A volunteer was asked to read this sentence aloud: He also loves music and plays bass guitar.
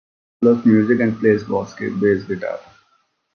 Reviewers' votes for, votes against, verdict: 1, 2, rejected